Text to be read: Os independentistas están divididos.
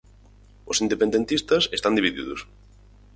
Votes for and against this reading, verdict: 4, 0, accepted